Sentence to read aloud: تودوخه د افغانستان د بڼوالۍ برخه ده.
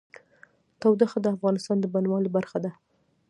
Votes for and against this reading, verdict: 2, 1, accepted